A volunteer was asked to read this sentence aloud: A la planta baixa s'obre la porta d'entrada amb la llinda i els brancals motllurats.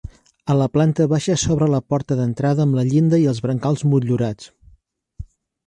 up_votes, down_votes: 3, 0